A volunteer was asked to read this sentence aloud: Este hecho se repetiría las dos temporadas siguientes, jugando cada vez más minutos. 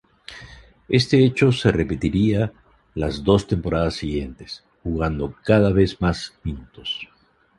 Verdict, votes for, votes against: accepted, 2, 0